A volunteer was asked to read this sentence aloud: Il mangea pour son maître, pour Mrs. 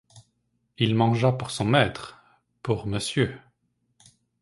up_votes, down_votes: 0, 2